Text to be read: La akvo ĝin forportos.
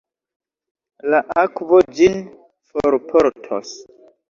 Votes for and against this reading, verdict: 0, 2, rejected